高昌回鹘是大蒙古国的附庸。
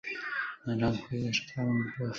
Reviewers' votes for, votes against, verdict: 1, 2, rejected